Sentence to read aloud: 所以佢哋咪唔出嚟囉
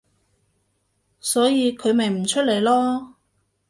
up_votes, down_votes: 1, 2